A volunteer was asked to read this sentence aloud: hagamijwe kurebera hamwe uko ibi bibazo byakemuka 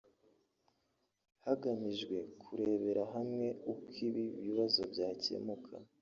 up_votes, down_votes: 2, 0